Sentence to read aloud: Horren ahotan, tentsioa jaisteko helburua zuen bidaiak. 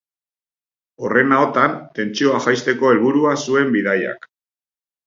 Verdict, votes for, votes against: accepted, 3, 0